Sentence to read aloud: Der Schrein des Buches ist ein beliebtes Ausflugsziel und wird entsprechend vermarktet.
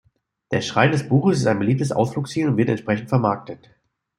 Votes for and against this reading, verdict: 2, 0, accepted